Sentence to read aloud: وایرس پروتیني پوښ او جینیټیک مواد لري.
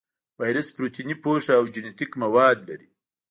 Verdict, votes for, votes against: rejected, 1, 2